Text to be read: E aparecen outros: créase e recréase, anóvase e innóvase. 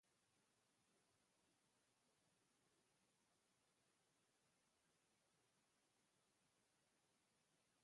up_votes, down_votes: 0, 2